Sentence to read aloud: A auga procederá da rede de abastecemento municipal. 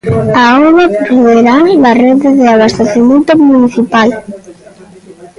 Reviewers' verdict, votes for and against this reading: rejected, 0, 2